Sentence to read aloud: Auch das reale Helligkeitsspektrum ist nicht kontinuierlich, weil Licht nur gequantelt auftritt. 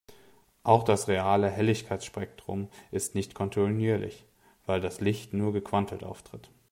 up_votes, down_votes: 1, 2